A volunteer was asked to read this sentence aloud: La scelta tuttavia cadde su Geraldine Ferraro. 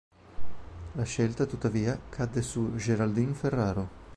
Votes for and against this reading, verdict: 2, 0, accepted